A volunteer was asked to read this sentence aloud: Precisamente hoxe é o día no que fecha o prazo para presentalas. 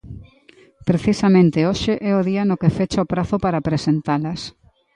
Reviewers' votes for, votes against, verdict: 2, 1, accepted